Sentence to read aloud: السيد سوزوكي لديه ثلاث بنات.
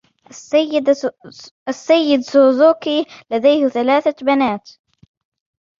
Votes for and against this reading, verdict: 0, 2, rejected